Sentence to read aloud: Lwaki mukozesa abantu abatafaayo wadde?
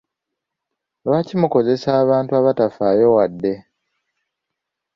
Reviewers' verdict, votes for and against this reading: accepted, 2, 0